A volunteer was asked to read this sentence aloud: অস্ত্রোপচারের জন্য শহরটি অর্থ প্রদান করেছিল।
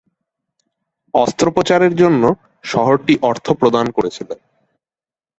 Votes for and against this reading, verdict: 2, 0, accepted